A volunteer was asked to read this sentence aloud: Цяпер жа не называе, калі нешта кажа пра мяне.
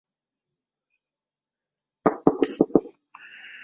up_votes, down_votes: 0, 2